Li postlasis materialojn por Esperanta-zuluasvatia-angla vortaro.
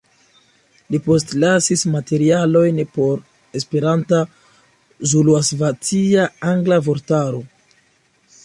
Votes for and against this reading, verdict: 2, 0, accepted